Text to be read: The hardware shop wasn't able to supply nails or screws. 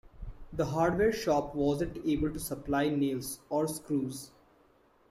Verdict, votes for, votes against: accepted, 2, 1